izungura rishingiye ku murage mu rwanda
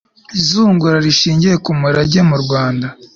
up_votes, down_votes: 3, 0